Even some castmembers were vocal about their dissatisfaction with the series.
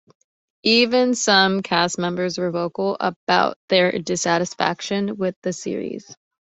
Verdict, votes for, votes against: accepted, 2, 0